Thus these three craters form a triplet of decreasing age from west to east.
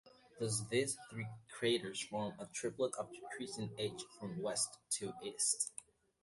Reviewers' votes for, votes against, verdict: 1, 2, rejected